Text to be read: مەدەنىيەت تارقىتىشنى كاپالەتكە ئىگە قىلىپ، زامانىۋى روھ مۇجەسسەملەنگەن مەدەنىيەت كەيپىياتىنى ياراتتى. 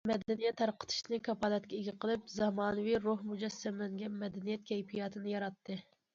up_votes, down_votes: 2, 0